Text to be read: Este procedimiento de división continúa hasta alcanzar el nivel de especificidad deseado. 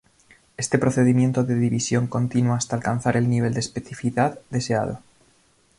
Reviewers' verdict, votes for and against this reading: rejected, 1, 2